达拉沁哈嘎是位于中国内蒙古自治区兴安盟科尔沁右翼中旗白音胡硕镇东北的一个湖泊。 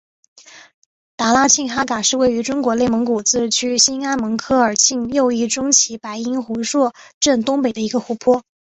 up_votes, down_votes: 3, 1